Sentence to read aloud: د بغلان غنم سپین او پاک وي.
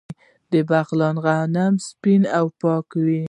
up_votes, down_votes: 2, 1